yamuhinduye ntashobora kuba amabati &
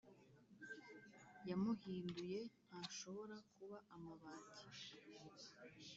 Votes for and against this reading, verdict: 1, 2, rejected